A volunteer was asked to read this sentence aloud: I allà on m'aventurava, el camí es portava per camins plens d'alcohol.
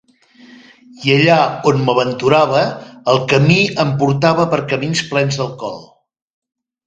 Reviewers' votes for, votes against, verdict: 0, 2, rejected